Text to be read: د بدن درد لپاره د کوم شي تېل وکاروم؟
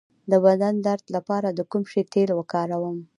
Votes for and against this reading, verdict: 1, 2, rejected